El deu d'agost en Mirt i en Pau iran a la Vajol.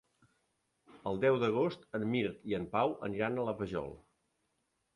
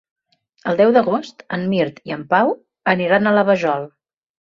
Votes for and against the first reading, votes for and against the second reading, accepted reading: 1, 2, 2, 0, second